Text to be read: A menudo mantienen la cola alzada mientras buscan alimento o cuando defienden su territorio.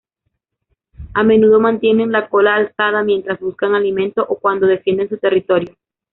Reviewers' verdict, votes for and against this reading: rejected, 1, 2